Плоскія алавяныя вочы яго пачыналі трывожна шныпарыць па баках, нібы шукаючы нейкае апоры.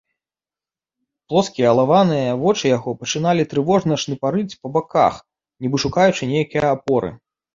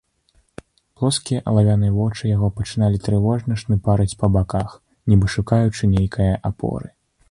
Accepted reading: second